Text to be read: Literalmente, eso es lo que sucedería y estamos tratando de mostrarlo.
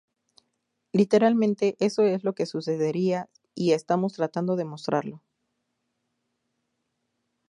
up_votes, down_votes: 2, 0